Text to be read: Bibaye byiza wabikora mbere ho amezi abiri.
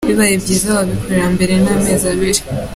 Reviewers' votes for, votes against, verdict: 2, 1, accepted